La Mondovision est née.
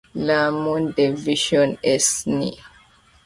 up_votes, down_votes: 2, 0